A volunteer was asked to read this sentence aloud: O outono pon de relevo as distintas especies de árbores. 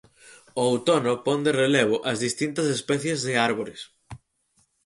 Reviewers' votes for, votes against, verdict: 4, 0, accepted